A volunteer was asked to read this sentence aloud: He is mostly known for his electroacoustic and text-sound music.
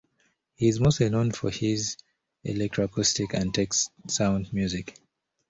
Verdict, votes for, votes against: accepted, 2, 0